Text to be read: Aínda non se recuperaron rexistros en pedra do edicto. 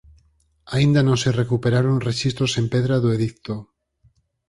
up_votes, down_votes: 4, 0